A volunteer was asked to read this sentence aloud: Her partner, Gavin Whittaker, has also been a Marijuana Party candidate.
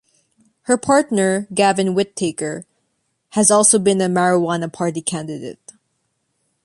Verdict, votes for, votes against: accepted, 2, 0